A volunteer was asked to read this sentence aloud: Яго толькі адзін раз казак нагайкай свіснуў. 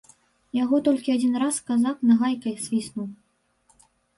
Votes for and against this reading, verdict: 2, 0, accepted